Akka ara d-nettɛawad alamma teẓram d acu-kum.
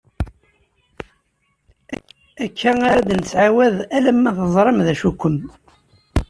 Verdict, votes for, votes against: rejected, 1, 2